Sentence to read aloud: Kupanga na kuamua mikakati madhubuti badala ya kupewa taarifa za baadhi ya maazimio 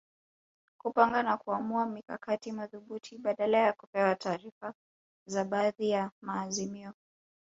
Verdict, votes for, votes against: rejected, 1, 2